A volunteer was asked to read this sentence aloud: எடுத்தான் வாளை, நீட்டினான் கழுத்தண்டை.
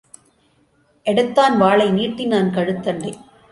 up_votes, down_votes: 2, 0